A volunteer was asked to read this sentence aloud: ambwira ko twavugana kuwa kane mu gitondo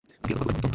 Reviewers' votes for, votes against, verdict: 1, 2, rejected